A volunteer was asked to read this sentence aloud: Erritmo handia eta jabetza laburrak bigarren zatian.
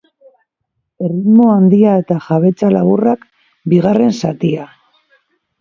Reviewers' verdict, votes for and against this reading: accepted, 2, 1